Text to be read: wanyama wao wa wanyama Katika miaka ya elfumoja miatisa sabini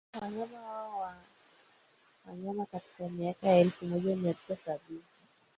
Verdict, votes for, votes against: rejected, 1, 2